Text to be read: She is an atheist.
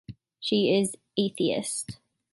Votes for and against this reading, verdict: 0, 2, rejected